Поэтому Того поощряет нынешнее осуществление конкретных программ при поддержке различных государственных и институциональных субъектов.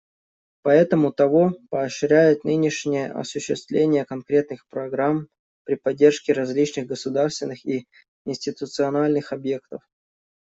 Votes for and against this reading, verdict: 0, 2, rejected